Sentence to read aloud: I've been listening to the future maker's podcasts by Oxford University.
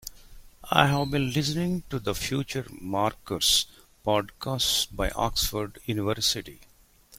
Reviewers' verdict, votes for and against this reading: rejected, 1, 2